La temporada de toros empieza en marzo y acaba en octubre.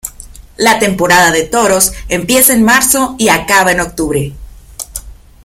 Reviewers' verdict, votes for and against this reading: accepted, 2, 0